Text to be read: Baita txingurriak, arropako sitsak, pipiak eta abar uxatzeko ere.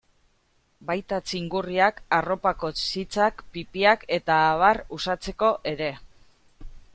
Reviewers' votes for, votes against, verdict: 1, 2, rejected